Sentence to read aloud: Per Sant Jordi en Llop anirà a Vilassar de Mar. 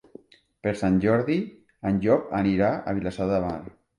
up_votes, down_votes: 1, 2